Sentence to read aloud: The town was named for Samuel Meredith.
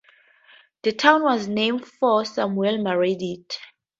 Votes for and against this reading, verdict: 2, 2, rejected